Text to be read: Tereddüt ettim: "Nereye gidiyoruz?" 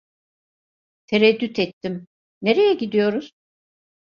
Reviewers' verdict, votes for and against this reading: accepted, 2, 0